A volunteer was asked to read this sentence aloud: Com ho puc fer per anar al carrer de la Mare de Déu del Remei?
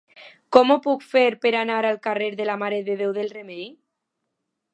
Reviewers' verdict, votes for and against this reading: accepted, 2, 0